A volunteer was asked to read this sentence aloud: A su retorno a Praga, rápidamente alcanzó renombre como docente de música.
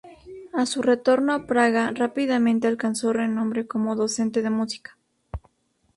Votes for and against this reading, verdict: 2, 0, accepted